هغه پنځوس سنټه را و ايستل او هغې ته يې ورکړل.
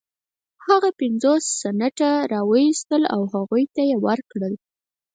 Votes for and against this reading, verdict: 0, 4, rejected